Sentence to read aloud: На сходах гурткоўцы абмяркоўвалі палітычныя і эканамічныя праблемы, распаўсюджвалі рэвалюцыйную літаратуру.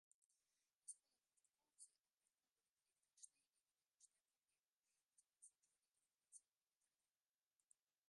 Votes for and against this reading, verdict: 0, 2, rejected